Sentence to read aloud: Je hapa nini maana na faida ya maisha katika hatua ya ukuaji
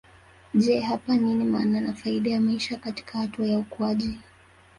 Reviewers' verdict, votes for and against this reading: rejected, 0, 2